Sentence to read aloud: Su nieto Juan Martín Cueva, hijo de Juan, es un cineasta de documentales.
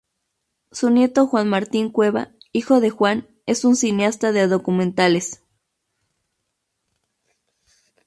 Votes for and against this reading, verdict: 2, 2, rejected